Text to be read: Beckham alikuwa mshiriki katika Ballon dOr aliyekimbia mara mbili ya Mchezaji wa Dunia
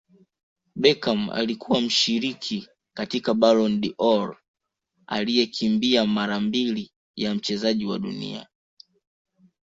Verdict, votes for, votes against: accepted, 2, 0